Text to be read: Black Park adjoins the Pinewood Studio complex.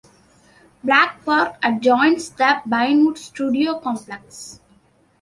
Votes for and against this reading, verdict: 2, 1, accepted